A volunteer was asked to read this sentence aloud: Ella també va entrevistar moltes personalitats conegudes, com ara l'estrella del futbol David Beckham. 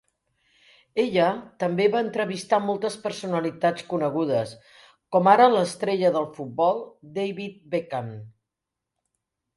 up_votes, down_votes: 2, 0